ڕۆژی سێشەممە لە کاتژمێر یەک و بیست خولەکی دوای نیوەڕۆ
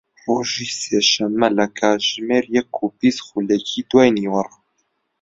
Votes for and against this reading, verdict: 2, 0, accepted